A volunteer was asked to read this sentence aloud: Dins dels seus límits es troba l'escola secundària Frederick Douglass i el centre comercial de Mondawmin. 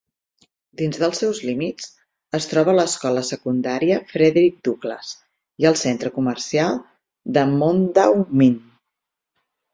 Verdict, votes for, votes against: accepted, 4, 0